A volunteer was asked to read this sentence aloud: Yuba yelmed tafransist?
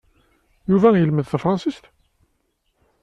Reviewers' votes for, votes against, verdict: 2, 0, accepted